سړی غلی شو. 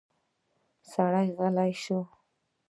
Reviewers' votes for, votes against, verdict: 2, 1, accepted